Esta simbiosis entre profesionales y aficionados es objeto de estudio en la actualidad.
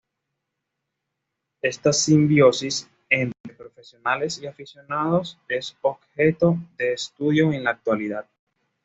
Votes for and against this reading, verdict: 2, 0, accepted